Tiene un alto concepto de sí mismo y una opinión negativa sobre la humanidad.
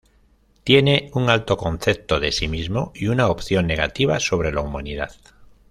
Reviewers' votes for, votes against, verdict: 0, 2, rejected